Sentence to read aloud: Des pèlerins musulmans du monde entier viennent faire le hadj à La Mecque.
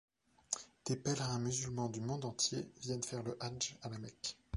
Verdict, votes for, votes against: accepted, 2, 0